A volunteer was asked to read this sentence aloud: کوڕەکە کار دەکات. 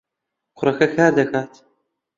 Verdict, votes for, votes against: accepted, 2, 0